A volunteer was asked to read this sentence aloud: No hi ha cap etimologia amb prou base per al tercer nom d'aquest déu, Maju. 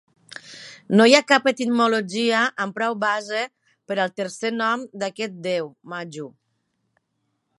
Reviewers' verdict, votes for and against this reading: accepted, 2, 0